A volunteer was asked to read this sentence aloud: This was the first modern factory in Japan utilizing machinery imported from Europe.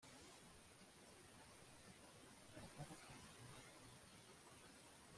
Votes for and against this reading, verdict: 0, 2, rejected